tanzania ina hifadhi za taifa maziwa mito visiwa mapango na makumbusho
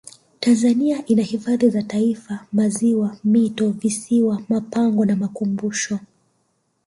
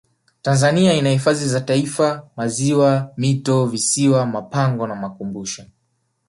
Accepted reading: second